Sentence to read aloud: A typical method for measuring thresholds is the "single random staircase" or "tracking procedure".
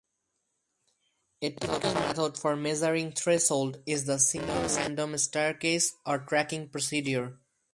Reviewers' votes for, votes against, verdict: 0, 4, rejected